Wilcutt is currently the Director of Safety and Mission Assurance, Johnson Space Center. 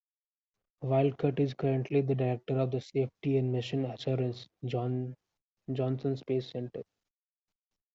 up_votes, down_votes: 0, 2